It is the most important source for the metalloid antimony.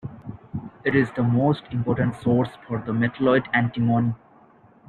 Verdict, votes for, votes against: accepted, 2, 0